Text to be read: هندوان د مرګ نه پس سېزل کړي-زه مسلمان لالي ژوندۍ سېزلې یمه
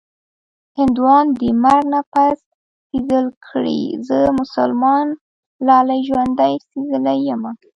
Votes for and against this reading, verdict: 0, 2, rejected